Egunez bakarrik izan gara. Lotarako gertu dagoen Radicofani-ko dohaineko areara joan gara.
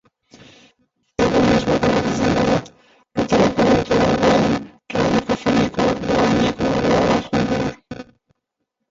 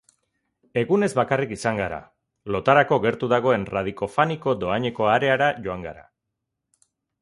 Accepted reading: second